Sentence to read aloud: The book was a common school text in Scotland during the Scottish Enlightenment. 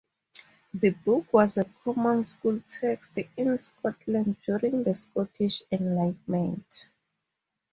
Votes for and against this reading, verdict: 0, 4, rejected